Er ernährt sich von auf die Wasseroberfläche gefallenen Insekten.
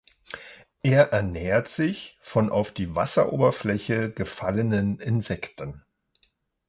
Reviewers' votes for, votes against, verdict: 2, 0, accepted